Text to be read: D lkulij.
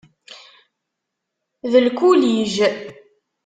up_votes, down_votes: 2, 0